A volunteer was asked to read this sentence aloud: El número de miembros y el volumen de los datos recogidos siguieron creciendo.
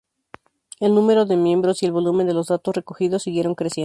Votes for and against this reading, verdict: 0, 2, rejected